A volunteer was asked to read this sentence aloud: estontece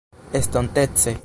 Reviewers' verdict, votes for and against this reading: accepted, 2, 0